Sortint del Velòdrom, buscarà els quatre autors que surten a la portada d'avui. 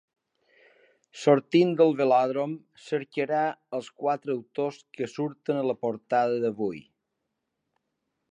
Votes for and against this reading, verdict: 1, 2, rejected